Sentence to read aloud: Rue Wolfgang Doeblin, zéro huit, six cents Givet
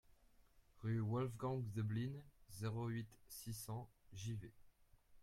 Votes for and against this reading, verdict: 2, 0, accepted